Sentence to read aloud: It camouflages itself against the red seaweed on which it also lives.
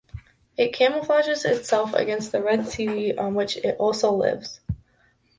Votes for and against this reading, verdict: 2, 0, accepted